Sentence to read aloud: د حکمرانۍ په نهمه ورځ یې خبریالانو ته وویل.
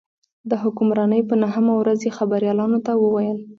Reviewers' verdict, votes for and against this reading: accepted, 2, 0